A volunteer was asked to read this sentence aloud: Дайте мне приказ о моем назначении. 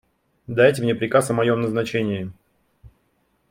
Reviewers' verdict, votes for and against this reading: accepted, 3, 0